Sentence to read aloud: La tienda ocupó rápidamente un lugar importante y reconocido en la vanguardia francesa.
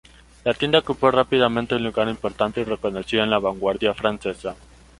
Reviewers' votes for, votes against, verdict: 1, 2, rejected